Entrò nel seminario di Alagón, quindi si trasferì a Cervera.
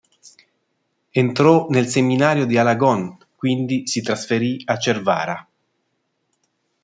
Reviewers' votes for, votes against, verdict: 1, 2, rejected